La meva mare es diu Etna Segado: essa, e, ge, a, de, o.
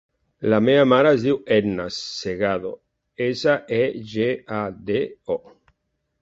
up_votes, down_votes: 3, 0